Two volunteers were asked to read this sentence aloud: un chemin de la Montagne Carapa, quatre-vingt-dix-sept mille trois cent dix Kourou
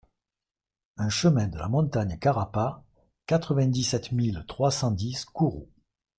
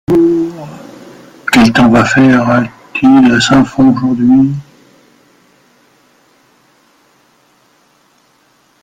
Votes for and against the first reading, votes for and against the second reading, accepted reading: 2, 0, 0, 2, first